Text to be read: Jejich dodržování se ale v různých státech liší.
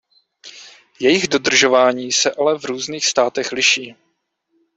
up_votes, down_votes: 2, 0